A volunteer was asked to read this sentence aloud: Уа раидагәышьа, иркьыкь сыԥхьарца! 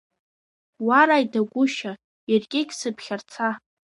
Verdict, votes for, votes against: accepted, 2, 1